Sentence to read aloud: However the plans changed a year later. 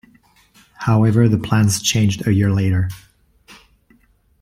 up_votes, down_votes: 2, 0